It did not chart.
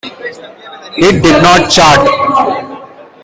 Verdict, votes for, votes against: accepted, 2, 0